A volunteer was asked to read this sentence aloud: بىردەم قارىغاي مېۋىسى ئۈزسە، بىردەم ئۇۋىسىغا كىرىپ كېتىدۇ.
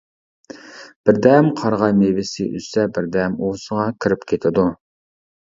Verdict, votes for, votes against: accepted, 2, 0